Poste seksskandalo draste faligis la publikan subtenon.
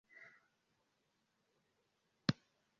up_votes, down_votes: 0, 2